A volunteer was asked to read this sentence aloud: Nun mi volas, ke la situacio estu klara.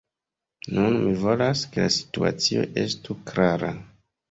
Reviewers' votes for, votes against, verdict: 1, 2, rejected